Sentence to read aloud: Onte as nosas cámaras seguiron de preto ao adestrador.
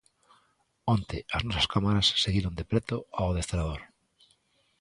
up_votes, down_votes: 2, 0